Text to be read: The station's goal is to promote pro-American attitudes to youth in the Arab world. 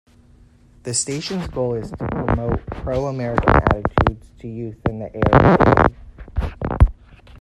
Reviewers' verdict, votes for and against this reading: rejected, 0, 2